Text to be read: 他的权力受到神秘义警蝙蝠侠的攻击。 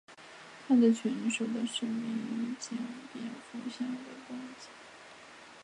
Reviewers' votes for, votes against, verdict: 0, 3, rejected